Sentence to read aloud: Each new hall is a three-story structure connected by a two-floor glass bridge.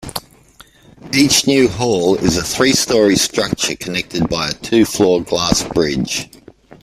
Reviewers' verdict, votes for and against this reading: accepted, 2, 0